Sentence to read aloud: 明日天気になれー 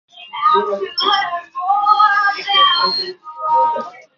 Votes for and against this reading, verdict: 0, 2, rejected